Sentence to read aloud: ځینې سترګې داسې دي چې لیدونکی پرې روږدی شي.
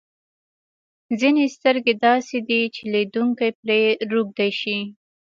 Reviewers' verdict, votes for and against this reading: accepted, 2, 0